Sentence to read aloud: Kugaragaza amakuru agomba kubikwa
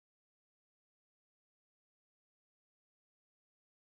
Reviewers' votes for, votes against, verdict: 1, 2, rejected